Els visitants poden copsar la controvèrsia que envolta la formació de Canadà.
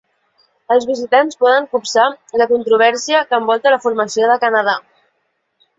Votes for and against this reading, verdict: 1, 2, rejected